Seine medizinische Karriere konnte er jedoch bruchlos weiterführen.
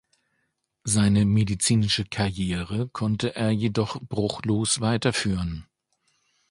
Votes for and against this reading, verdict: 2, 0, accepted